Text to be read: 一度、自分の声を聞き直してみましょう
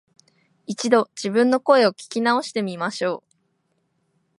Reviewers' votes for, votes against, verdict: 3, 0, accepted